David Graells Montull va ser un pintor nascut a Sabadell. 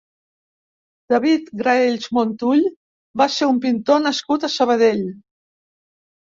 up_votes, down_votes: 3, 0